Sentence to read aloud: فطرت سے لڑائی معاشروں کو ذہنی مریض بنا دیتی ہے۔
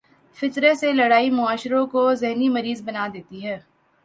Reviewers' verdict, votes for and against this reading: accepted, 2, 0